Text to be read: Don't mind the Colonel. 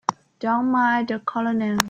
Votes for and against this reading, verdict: 1, 2, rejected